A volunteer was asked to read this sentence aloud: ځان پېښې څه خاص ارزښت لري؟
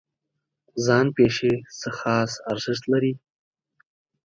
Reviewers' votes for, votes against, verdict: 4, 0, accepted